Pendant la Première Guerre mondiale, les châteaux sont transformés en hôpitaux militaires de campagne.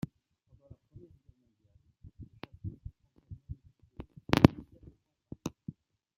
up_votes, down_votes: 0, 2